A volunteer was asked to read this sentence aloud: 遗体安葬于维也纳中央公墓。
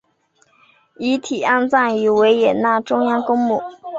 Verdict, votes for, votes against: accepted, 3, 0